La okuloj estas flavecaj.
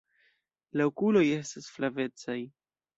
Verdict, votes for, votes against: accepted, 2, 0